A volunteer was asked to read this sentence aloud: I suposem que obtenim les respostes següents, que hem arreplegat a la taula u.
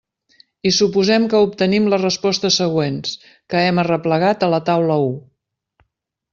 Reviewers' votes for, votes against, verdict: 3, 0, accepted